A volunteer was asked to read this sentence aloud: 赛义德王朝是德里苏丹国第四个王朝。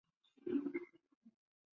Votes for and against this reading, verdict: 1, 2, rejected